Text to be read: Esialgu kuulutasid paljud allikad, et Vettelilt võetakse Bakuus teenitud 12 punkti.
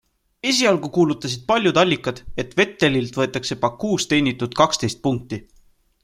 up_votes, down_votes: 0, 2